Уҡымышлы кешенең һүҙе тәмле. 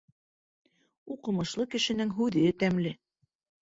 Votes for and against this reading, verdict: 2, 0, accepted